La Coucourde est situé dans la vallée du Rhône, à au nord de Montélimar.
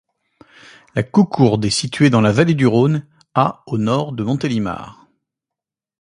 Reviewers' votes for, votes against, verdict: 2, 0, accepted